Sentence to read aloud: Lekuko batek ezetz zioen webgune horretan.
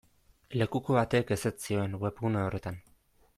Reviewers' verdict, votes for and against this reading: accepted, 2, 0